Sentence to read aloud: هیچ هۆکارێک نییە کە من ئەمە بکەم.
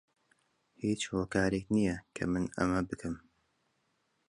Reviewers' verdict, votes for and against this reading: accepted, 2, 0